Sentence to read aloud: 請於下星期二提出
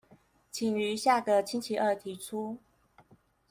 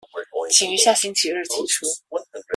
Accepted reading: second